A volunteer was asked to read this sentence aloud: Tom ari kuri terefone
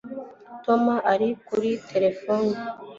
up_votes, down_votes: 2, 0